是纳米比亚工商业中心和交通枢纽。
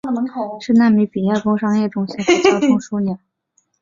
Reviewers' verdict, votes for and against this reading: rejected, 1, 2